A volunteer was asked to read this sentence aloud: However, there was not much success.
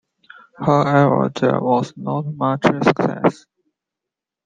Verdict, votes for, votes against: rejected, 0, 2